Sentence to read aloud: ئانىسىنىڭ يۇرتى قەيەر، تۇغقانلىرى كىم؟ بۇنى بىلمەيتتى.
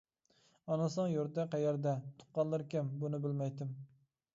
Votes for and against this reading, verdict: 1, 2, rejected